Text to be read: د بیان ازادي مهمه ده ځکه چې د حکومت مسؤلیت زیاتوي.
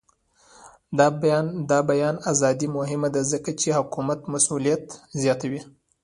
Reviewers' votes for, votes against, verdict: 1, 2, rejected